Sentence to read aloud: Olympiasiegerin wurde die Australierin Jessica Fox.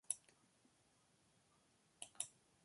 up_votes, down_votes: 0, 2